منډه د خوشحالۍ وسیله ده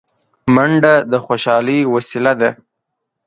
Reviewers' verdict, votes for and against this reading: accepted, 2, 0